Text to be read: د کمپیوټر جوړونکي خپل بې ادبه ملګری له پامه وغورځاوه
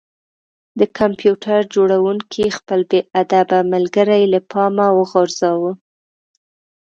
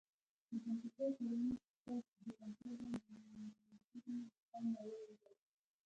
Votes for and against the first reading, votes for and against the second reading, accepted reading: 2, 0, 0, 2, first